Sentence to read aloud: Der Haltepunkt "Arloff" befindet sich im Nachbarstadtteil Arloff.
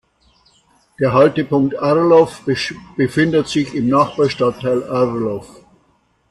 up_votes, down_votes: 0, 2